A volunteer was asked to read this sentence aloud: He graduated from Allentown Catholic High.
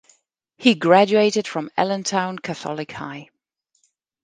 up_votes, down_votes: 2, 0